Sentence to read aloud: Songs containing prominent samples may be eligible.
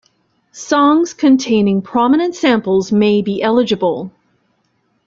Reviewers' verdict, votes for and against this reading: accepted, 2, 0